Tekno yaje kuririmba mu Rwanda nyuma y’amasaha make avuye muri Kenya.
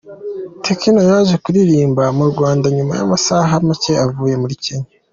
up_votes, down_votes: 2, 1